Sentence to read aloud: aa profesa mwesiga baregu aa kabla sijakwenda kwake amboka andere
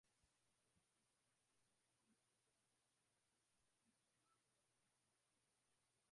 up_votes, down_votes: 0, 2